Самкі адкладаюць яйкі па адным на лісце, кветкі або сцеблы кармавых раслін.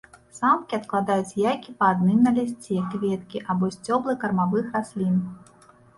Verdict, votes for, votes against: rejected, 0, 2